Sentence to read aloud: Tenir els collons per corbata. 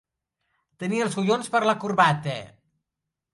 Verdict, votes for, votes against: rejected, 1, 2